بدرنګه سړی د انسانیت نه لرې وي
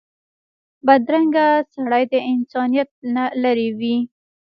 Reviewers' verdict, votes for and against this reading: rejected, 0, 2